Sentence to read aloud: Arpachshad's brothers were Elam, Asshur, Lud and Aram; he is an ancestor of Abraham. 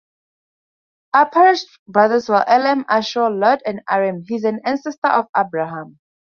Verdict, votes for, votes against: rejected, 0, 2